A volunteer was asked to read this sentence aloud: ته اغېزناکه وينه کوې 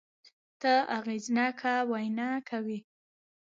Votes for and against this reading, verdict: 1, 2, rejected